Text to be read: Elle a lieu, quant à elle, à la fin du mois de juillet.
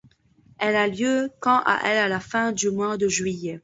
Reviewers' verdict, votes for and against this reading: rejected, 0, 2